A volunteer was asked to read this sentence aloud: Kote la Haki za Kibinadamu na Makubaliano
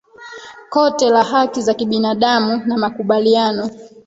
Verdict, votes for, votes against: rejected, 0, 2